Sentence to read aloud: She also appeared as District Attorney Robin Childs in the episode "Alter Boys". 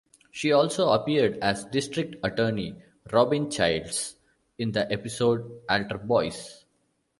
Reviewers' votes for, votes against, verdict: 2, 0, accepted